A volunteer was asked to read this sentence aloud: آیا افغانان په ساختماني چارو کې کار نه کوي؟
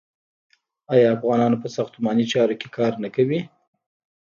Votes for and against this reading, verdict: 0, 2, rejected